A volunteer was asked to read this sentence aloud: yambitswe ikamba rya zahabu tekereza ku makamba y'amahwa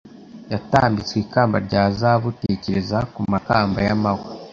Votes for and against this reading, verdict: 0, 2, rejected